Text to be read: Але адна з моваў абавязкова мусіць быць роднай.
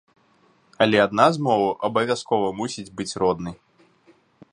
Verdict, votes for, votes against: accepted, 3, 0